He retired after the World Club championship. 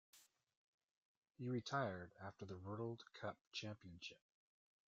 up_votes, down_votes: 1, 2